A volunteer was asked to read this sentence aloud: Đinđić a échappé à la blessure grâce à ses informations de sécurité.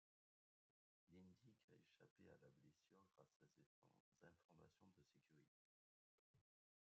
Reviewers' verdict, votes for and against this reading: rejected, 0, 2